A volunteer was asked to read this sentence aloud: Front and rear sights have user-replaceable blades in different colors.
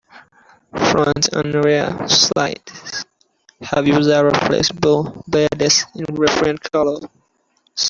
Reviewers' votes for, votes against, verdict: 0, 2, rejected